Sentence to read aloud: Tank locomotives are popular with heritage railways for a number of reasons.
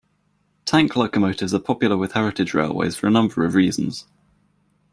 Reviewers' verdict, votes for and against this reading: accepted, 2, 0